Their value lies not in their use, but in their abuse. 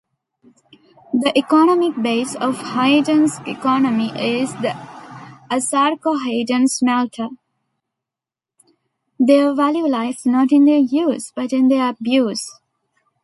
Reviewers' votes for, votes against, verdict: 0, 2, rejected